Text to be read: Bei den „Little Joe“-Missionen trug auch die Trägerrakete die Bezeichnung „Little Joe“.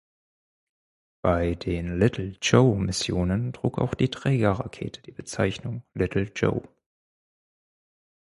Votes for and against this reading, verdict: 4, 0, accepted